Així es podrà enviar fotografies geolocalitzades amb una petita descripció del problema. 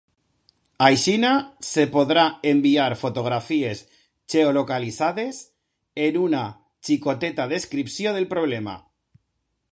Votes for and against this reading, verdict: 0, 2, rejected